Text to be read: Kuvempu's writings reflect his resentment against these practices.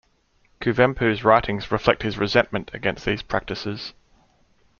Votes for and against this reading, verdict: 2, 0, accepted